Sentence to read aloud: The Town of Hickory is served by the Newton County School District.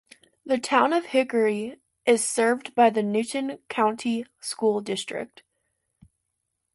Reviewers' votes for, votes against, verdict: 2, 0, accepted